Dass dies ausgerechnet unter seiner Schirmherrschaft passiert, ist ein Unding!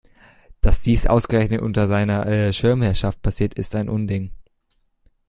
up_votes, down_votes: 1, 2